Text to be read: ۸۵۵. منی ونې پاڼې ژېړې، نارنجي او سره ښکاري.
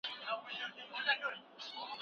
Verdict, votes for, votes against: rejected, 0, 2